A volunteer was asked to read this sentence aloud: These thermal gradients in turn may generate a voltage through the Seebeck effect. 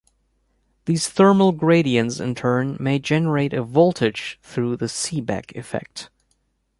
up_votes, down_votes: 2, 0